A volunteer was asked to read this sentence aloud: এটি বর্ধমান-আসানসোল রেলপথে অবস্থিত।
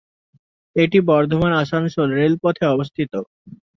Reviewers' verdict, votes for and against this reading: accepted, 2, 1